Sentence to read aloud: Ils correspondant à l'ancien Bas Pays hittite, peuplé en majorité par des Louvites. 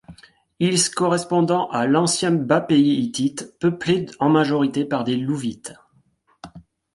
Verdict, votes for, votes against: rejected, 0, 2